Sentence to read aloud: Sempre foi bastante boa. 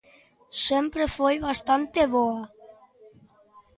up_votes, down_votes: 2, 0